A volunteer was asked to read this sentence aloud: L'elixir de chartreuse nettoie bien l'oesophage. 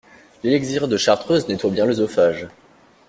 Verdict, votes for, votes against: rejected, 1, 2